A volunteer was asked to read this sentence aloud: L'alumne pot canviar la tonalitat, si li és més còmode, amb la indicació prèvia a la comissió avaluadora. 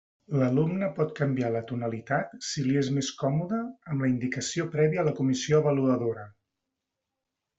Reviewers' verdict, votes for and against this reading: accepted, 2, 0